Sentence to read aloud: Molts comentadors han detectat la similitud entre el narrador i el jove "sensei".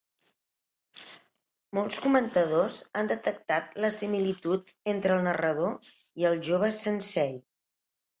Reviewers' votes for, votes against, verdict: 2, 0, accepted